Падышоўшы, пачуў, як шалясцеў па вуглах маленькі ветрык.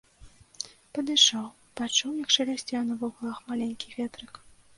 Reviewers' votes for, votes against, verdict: 0, 2, rejected